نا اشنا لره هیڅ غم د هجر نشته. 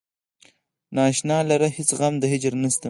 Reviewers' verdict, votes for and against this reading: rejected, 2, 4